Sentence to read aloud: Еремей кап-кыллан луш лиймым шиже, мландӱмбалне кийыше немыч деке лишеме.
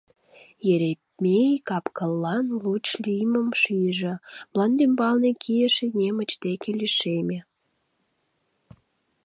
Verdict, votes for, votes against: rejected, 0, 2